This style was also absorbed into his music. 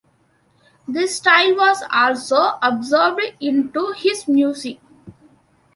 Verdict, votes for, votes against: accepted, 2, 1